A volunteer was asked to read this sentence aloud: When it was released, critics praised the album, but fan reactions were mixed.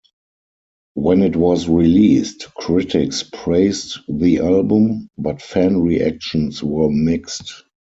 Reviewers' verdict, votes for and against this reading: accepted, 4, 0